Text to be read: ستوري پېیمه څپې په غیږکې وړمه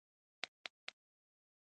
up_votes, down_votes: 0, 2